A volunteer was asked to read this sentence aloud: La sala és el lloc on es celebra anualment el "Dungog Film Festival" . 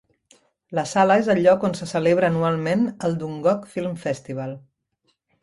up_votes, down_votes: 0, 2